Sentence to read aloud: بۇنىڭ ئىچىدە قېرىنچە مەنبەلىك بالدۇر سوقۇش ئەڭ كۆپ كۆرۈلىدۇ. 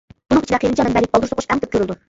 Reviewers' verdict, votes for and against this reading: rejected, 0, 2